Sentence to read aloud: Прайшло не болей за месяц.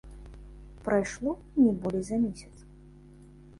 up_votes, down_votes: 3, 0